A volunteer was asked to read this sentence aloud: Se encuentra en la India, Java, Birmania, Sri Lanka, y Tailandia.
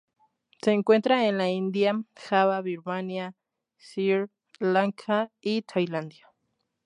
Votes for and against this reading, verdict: 2, 0, accepted